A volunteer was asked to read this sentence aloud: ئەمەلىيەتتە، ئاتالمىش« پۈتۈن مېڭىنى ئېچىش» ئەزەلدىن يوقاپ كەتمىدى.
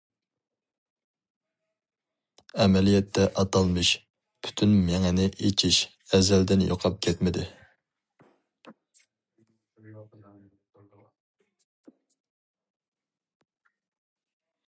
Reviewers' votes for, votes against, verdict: 2, 0, accepted